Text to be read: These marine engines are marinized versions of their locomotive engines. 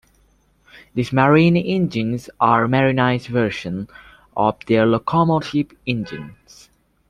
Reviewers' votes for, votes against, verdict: 1, 2, rejected